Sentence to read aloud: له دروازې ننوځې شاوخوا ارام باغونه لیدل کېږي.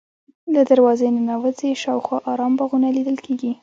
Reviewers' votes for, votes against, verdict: 2, 0, accepted